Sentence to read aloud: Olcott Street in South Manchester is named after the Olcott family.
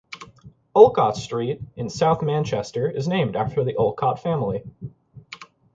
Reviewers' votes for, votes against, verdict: 4, 0, accepted